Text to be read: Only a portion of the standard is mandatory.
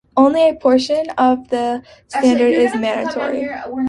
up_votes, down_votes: 0, 2